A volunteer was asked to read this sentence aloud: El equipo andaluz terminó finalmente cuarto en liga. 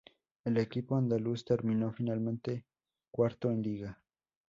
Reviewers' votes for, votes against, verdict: 0, 2, rejected